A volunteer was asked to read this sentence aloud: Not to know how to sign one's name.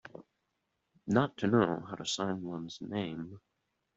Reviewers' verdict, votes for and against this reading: accepted, 2, 0